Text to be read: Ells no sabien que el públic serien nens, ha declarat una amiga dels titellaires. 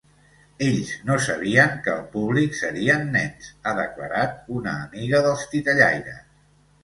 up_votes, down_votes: 2, 0